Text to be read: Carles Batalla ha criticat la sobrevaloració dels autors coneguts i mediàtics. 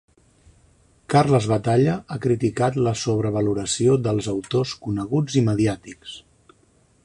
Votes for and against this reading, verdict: 3, 0, accepted